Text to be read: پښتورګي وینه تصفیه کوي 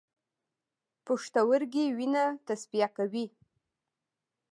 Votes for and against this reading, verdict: 1, 2, rejected